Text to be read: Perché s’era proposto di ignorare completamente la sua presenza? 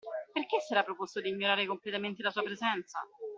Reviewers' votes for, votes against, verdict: 2, 0, accepted